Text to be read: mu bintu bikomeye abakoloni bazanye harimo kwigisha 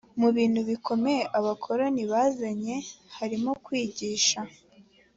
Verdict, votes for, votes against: accepted, 4, 0